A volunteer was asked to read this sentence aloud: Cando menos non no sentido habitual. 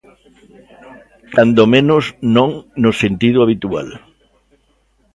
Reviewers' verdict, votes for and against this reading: accepted, 2, 0